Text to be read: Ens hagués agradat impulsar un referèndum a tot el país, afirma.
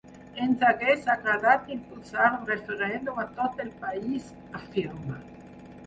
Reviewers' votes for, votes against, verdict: 0, 4, rejected